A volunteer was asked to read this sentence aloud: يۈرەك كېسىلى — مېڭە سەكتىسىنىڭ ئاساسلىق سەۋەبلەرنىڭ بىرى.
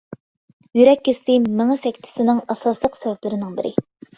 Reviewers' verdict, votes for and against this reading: rejected, 0, 2